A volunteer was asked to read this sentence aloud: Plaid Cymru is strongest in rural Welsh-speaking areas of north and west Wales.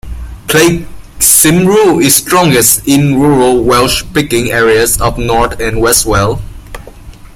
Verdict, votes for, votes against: rejected, 1, 2